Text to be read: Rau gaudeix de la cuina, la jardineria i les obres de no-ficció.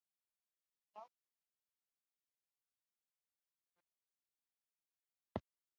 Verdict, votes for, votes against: rejected, 0, 2